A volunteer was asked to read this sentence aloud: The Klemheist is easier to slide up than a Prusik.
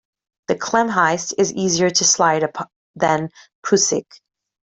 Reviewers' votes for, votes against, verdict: 1, 2, rejected